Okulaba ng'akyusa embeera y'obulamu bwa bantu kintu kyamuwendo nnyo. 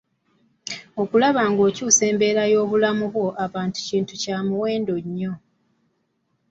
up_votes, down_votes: 0, 2